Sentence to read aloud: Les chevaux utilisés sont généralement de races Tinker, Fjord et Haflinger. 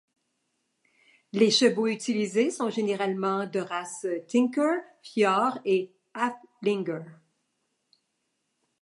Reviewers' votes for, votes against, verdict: 2, 0, accepted